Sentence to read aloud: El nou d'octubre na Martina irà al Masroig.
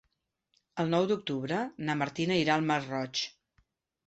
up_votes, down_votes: 2, 0